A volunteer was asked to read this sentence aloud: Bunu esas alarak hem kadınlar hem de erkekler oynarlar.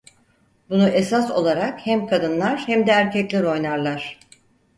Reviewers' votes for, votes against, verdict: 2, 4, rejected